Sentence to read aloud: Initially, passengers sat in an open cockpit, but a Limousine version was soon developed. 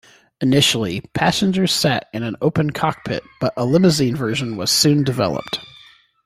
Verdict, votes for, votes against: accepted, 2, 0